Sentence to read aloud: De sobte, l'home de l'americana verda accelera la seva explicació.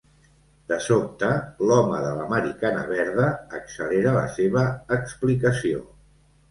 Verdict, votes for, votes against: accepted, 2, 0